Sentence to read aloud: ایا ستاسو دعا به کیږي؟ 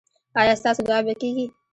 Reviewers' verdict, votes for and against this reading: accepted, 2, 0